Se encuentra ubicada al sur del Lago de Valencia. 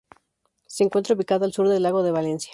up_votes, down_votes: 2, 0